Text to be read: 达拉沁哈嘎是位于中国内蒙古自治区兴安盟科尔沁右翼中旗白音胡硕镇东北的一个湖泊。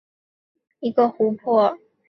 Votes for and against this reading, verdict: 0, 2, rejected